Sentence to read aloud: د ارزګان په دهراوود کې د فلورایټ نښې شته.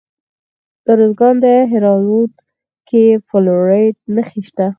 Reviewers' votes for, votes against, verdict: 2, 4, rejected